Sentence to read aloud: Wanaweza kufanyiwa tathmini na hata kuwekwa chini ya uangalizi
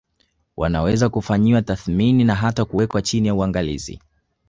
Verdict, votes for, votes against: accepted, 4, 0